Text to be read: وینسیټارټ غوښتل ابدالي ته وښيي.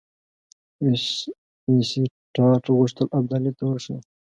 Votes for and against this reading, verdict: 0, 2, rejected